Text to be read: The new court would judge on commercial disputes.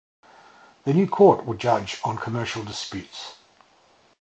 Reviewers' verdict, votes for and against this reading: accepted, 4, 0